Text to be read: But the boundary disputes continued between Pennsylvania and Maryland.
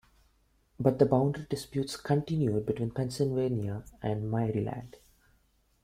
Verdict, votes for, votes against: rejected, 1, 2